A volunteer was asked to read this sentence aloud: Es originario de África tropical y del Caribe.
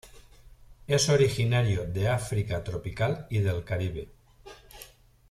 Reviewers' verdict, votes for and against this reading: accepted, 2, 0